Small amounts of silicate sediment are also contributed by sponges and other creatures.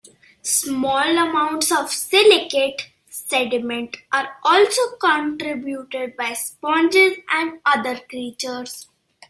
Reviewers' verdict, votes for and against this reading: accepted, 2, 0